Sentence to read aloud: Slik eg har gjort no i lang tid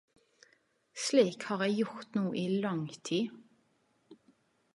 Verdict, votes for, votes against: rejected, 1, 2